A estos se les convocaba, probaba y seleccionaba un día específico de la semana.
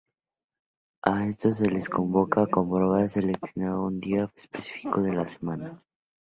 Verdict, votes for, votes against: rejected, 0, 2